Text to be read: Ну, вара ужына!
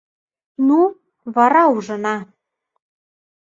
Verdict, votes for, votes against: accepted, 2, 0